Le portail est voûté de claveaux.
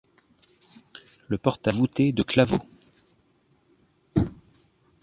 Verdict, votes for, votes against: rejected, 1, 2